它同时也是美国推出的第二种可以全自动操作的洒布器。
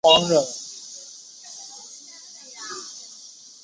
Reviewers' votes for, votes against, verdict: 0, 3, rejected